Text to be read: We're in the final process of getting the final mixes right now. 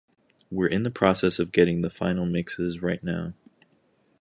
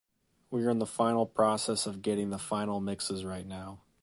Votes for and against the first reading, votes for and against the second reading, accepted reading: 0, 2, 2, 0, second